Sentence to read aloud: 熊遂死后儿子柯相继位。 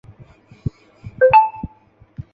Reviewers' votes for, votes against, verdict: 0, 4, rejected